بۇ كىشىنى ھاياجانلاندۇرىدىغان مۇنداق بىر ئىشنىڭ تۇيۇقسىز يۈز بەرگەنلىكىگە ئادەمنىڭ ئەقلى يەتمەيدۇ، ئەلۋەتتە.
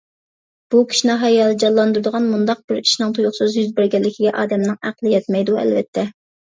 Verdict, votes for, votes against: accepted, 2, 0